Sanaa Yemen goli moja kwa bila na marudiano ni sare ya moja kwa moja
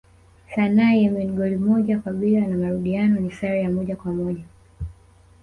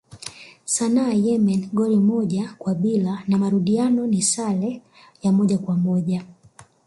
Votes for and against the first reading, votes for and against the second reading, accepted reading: 1, 2, 2, 0, second